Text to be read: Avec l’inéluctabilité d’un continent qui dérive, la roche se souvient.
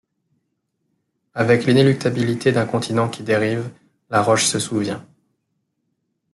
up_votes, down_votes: 2, 0